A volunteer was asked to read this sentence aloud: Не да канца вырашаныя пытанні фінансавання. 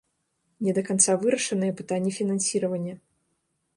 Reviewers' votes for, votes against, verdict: 3, 4, rejected